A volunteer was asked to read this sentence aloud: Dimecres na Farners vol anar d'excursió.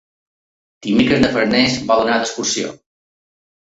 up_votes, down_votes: 2, 0